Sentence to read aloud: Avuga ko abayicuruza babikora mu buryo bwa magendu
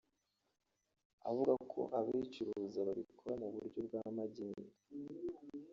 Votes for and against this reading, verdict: 1, 2, rejected